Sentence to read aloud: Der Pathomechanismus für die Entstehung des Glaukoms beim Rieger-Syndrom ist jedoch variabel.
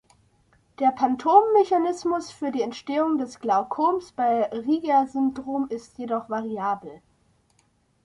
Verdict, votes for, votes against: rejected, 2, 3